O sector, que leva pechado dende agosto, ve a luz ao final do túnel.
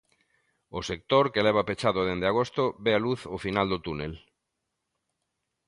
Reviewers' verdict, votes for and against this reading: accepted, 3, 0